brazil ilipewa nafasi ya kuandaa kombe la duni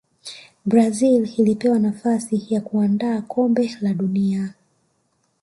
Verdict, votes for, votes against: rejected, 1, 2